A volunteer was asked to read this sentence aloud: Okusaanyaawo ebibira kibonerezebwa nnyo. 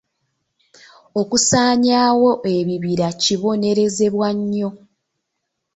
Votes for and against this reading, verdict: 2, 0, accepted